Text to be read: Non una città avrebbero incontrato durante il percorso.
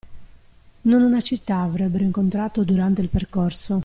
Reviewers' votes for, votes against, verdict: 2, 0, accepted